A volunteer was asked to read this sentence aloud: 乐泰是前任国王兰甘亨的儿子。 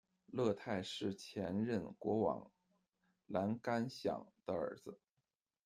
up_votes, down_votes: 0, 2